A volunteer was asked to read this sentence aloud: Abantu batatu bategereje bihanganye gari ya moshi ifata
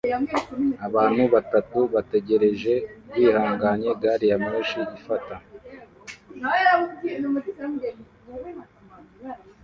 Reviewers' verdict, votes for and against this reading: rejected, 1, 2